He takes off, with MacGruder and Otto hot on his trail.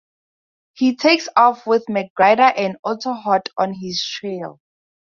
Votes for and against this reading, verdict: 4, 2, accepted